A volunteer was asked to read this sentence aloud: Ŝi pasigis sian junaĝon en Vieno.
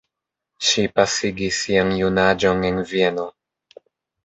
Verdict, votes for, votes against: accepted, 2, 1